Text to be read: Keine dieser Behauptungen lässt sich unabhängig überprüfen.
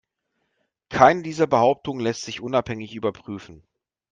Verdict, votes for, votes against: accepted, 2, 0